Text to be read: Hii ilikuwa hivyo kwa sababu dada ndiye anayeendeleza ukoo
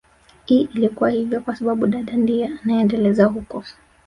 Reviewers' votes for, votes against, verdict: 1, 2, rejected